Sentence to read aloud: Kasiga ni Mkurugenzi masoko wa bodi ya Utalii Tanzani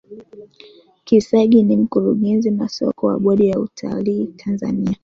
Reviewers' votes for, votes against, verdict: 3, 4, rejected